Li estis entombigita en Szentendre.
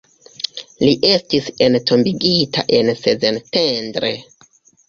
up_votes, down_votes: 0, 2